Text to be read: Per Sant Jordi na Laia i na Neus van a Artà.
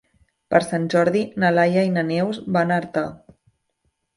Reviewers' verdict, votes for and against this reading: accepted, 2, 0